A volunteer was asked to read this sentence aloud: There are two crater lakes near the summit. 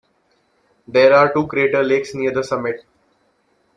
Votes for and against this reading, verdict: 2, 0, accepted